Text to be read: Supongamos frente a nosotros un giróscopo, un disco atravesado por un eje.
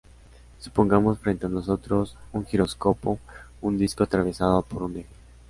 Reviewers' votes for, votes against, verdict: 2, 0, accepted